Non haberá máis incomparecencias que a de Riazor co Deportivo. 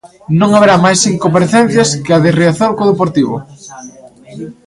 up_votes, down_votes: 2, 1